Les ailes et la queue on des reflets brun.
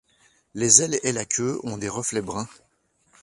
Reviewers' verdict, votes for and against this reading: accepted, 2, 0